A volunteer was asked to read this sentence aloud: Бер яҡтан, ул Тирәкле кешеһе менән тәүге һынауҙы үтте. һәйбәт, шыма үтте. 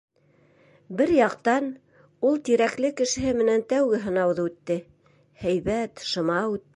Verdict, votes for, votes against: rejected, 0, 2